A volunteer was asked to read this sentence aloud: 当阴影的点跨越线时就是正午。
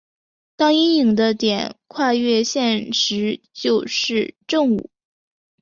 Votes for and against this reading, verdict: 2, 0, accepted